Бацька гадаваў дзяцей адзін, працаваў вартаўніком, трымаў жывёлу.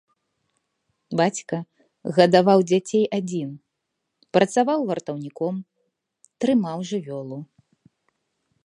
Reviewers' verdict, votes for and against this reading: accepted, 2, 0